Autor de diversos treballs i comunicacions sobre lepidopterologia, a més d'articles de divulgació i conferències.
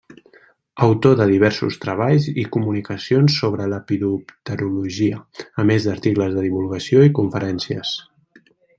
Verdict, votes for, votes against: rejected, 1, 2